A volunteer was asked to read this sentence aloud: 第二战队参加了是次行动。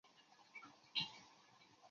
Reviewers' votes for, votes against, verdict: 0, 2, rejected